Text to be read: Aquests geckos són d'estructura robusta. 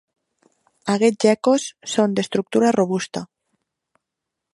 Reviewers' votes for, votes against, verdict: 2, 0, accepted